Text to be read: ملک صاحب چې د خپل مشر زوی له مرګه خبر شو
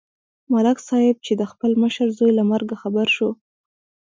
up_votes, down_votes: 2, 1